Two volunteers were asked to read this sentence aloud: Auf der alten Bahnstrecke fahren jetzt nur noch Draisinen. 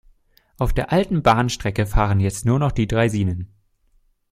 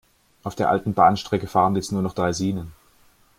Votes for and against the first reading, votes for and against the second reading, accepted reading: 1, 2, 2, 0, second